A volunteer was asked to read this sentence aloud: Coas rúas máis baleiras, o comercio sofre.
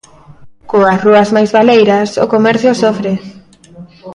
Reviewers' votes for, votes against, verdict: 1, 2, rejected